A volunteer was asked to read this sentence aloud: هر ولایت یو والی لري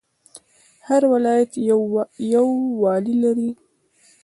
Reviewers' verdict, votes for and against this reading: accepted, 2, 1